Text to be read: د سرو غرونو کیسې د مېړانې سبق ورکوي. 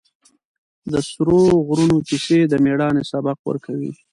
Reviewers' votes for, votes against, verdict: 2, 0, accepted